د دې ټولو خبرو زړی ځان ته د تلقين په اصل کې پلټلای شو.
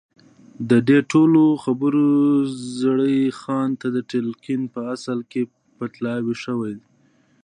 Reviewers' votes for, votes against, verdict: 1, 2, rejected